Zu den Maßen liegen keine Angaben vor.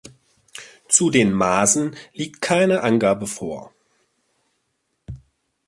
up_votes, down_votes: 0, 2